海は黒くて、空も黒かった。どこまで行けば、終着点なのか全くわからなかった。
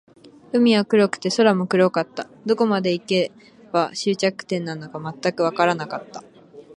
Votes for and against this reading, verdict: 2, 0, accepted